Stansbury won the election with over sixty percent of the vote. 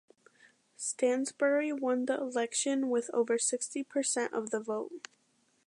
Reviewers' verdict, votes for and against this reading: accepted, 2, 1